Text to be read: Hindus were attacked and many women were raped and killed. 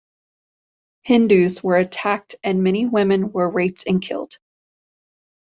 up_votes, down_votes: 2, 0